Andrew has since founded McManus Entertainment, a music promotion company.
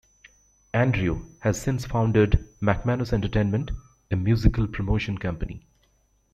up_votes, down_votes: 1, 2